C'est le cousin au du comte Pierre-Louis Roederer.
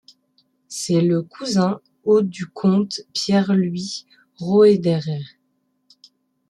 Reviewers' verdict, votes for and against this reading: rejected, 0, 2